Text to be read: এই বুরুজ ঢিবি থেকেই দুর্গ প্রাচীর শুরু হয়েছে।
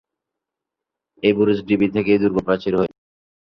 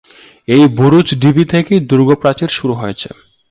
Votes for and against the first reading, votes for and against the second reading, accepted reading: 3, 11, 2, 0, second